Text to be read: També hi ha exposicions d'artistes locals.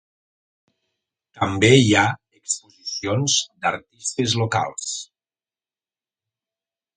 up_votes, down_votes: 1, 2